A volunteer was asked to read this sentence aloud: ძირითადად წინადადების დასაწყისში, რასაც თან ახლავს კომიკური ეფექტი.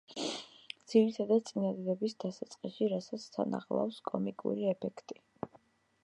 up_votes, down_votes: 1, 2